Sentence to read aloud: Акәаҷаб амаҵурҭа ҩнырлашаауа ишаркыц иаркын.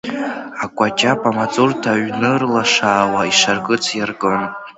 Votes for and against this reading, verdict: 2, 0, accepted